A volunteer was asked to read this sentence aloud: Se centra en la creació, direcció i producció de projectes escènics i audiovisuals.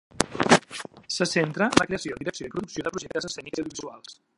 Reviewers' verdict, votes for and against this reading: rejected, 0, 2